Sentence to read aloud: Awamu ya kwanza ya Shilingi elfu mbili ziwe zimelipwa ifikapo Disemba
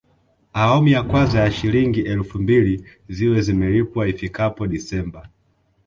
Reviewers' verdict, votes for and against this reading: accepted, 2, 0